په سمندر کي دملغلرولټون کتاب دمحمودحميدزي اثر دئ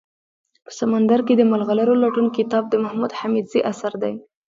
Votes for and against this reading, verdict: 2, 0, accepted